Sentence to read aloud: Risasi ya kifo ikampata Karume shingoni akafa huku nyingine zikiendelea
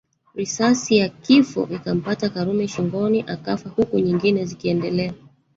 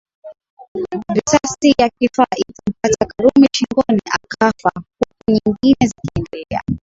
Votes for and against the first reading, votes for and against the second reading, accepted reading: 5, 1, 0, 2, first